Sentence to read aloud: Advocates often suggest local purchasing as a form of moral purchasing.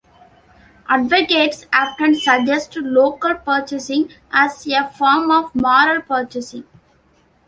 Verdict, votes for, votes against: rejected, 1, 2